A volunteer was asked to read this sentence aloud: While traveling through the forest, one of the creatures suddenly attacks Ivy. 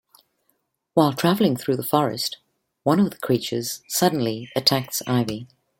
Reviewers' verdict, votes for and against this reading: accepted, 2, 0